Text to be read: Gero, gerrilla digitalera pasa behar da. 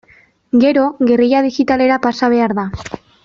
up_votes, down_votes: 2, 1